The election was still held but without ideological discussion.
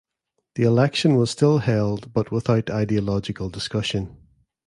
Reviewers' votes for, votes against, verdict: 2, 0, accepted